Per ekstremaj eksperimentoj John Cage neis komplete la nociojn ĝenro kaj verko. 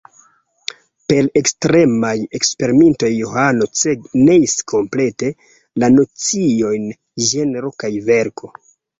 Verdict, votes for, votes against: rejected, 0, 2